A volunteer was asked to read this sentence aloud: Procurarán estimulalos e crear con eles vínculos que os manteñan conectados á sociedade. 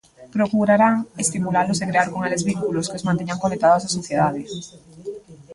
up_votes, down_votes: 2, 3